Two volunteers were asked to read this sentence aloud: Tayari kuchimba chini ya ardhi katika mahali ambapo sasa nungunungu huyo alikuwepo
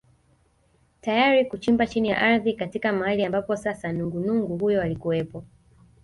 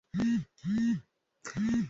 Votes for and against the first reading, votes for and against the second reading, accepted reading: 2, 0, 0, 2, first